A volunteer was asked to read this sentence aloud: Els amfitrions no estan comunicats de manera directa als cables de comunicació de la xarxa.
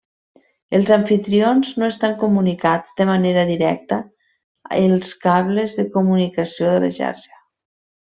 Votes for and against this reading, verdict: 0, 2, rejected